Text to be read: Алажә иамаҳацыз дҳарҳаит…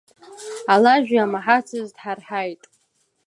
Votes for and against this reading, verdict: 2, 0, accepted